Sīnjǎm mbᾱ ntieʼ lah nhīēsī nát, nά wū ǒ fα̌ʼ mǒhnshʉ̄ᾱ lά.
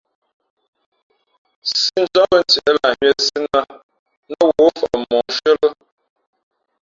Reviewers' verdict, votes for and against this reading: rejected, 1, 2